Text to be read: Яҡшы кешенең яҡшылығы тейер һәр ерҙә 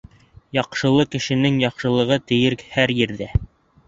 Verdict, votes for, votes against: rejected, 0, 2